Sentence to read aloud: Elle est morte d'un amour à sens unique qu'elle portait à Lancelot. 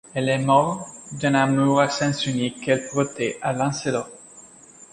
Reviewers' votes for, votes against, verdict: 1, 2, rejected